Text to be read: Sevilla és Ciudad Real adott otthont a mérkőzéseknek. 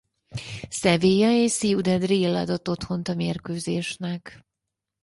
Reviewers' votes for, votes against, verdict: 2, 4, rejected